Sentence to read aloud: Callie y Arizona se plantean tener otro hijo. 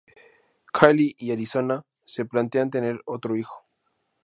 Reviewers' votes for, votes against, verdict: 2, 0, accepted